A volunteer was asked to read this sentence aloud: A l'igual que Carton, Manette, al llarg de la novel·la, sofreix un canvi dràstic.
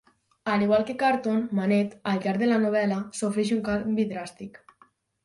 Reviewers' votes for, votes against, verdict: 4, 0, accepted